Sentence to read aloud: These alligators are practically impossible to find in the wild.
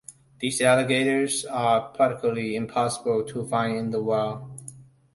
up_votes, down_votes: 0, 2